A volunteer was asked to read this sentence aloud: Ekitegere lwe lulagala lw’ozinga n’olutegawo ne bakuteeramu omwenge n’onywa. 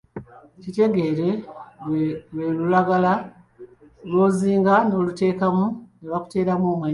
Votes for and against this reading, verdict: 1, 2, rejected